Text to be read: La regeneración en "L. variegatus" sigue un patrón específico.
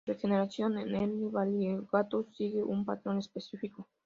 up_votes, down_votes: 2, 0